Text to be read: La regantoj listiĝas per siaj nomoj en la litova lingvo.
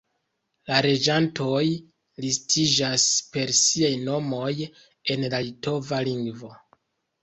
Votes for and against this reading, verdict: 2, 3, rejected